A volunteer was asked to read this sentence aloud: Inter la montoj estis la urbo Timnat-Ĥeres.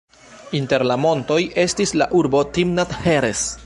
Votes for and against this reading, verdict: 1, 2, rejected